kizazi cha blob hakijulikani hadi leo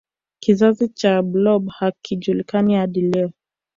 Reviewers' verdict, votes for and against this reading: rejected, 0, 2